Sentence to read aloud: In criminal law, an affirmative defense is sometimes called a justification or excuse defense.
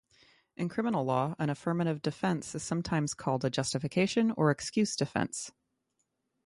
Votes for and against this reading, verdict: 6, 3, accepted